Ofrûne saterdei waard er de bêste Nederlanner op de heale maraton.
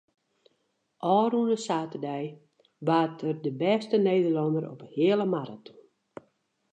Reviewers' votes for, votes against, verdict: 2, 2, rejected